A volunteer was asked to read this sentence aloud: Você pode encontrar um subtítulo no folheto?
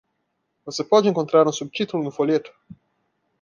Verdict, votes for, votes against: accepted, 2, 0